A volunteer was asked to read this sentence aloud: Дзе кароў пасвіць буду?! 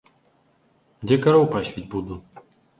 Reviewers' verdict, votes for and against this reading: rejected, 1, 2